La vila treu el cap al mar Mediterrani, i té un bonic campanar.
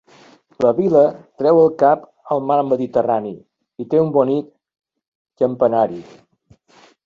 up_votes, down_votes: 1, 2